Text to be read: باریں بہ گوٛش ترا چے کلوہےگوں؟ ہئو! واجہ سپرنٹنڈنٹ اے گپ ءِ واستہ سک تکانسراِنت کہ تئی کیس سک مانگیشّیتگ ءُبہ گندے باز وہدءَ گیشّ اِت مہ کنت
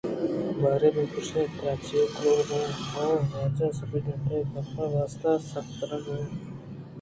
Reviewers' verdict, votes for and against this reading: rejected, 1, 2